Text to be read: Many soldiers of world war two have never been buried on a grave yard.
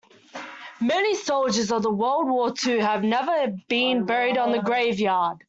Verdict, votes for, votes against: rejected, 1, 2